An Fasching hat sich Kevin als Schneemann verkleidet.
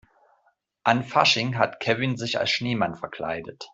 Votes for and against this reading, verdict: 0, 2, rejected